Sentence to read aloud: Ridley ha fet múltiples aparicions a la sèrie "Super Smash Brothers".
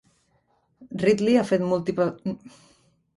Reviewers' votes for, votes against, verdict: 0, 2, rejected